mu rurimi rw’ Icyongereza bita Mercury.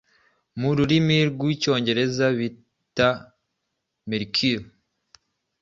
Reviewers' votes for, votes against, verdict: 2, 0, accepted